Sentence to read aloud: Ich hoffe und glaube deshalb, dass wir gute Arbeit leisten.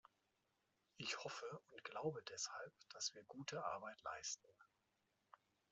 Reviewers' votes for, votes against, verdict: 2, 0, accepted